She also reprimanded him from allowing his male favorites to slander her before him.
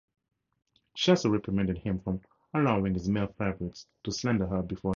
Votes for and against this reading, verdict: 0, 2, rejected